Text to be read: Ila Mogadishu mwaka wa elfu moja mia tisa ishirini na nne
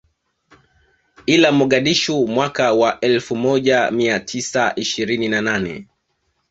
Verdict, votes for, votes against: rejected, 1, 2